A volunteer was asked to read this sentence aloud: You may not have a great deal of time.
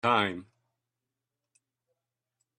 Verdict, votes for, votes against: rejected, 0, 2